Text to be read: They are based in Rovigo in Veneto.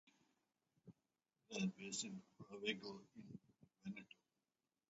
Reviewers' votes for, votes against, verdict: 0, 4, rejected